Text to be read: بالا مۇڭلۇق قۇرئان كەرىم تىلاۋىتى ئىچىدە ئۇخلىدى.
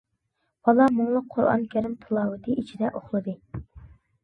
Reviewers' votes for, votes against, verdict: 2, 0, accepted